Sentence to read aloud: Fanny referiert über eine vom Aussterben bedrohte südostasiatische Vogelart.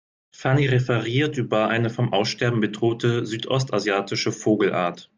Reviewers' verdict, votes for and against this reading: accepted, 2, 0